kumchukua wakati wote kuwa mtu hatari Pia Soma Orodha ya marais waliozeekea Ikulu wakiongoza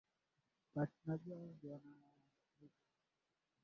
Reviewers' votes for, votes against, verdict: 0, 2, rejected